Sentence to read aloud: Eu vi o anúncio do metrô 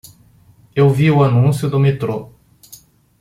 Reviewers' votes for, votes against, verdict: 2, 0, accepted